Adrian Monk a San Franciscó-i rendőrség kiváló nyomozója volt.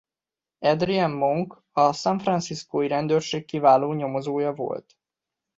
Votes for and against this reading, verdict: 0, 2, rejected